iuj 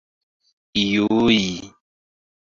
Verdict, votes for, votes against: accepted, 2, 1